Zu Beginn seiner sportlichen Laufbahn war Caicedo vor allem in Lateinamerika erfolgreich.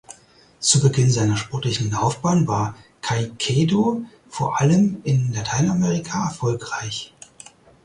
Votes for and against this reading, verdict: 4, 0, accepted